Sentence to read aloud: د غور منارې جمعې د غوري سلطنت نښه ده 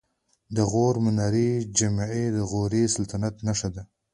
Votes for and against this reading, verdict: 2, 1, accepted